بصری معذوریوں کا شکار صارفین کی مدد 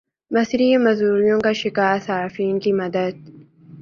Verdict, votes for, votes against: accepted, 5, 0